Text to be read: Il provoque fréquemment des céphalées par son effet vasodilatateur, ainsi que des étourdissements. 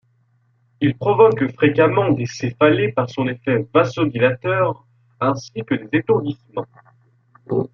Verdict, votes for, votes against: accepted, 2, 0